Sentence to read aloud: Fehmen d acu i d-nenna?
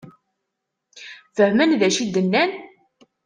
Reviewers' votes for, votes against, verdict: 1, 2, rejected